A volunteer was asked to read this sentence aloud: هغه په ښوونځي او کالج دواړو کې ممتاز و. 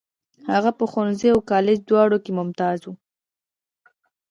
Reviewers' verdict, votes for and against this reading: rejected, 1, 2